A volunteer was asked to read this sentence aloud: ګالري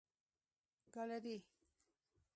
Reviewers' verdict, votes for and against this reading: rejected, 0, 2